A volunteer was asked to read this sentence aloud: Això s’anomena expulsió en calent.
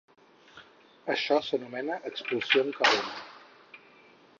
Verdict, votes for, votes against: rejected, 2, 4